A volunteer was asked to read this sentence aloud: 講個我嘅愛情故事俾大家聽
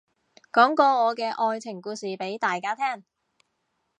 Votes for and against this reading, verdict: 2, 0, accepted